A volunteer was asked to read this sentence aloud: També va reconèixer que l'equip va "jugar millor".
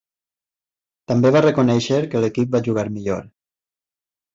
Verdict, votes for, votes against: accepted, 3, 0